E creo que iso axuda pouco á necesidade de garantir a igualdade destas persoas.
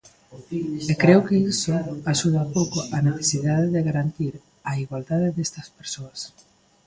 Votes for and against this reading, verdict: 1, 2, rejected